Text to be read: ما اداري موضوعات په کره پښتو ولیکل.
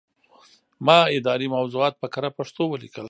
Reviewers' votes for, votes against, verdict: 1, 2, rejected